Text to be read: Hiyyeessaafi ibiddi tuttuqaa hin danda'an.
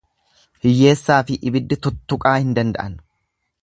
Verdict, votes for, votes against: accepted, 2, 0